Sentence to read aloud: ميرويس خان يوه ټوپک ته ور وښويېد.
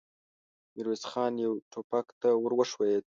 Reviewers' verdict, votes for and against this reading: accepted, 2, 1